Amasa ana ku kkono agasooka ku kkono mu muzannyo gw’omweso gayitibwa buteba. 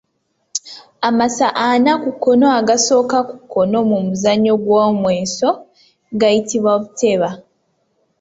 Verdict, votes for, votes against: accepted, 2, 0